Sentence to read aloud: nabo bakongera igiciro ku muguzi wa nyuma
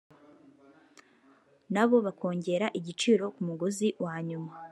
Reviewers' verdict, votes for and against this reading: rejected, 1, 2